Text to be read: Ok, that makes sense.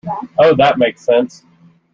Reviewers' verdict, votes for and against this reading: rejected, 1, 2